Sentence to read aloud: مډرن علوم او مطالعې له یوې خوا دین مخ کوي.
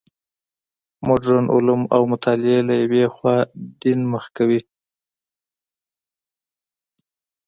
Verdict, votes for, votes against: accepted, 2, 0